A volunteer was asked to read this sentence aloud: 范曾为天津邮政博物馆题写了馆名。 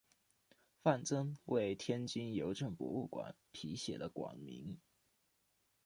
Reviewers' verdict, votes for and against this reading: accepted, 2, 1